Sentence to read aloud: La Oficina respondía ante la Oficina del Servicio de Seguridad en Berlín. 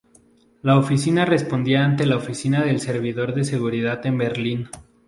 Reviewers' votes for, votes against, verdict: 0, 2, rejected